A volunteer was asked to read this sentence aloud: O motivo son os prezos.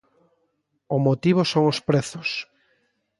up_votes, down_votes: 2, 0